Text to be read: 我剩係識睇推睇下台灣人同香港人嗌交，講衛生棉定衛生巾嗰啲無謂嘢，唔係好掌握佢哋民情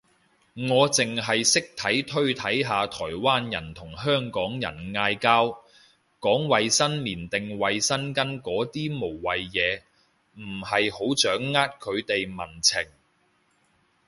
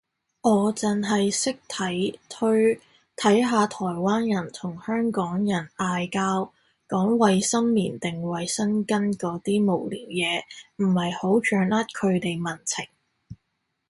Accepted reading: first